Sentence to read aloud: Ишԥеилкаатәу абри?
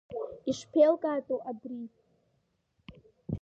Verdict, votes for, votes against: accepted, 2, 0